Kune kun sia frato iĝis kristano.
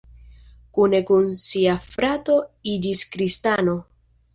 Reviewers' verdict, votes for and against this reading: accepted, 2, 0